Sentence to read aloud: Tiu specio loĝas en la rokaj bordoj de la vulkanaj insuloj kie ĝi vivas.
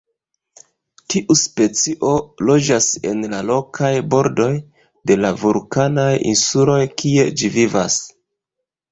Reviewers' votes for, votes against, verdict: 1, 2, rejected